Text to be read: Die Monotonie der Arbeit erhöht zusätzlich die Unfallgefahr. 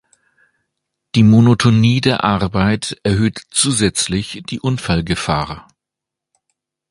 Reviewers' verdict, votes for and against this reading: accepted, 2, 0